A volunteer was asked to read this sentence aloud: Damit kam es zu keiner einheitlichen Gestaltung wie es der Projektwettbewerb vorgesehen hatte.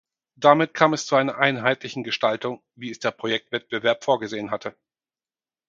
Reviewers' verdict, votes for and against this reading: rejected, 2, 4